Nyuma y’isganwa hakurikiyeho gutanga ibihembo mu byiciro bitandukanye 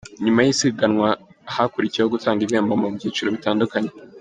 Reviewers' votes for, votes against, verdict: 2, 0, accepted